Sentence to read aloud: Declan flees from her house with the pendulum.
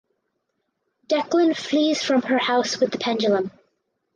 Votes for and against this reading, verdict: 2, 0, accepted